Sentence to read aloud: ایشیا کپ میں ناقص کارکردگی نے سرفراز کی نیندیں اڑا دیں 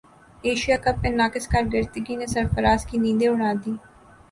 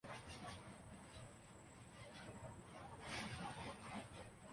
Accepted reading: first